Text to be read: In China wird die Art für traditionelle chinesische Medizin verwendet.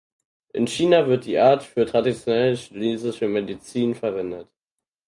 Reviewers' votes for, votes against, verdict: 4, 0, accepted